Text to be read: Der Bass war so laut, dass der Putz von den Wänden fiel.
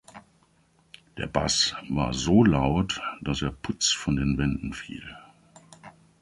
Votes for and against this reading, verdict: 0, 2, rejected